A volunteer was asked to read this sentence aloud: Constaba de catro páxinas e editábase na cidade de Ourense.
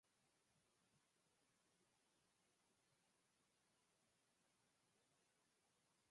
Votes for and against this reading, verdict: 0, 2, rejected